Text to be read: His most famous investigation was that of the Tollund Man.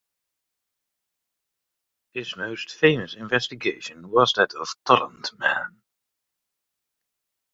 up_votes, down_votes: 2, 0